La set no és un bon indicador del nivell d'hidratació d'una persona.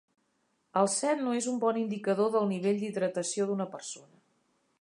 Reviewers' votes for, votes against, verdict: 0, 2, rejected